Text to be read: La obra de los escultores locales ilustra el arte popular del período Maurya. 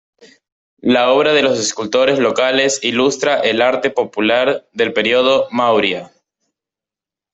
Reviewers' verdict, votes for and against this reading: accepted, 2, 0